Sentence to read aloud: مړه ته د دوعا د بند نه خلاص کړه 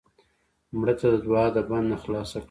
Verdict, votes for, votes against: accepted, 2, 0